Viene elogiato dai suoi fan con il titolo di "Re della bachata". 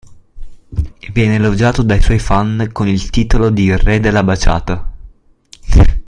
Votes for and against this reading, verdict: 1, 2, rejected